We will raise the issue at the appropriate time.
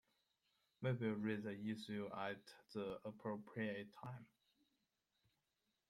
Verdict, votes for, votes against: accepted, 2, 1